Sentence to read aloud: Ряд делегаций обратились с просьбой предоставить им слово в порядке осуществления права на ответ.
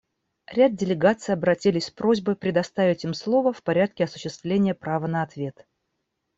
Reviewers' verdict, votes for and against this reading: accepted, 2, 0